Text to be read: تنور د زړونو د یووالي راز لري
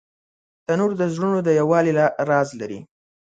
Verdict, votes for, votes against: accepted, 2, 1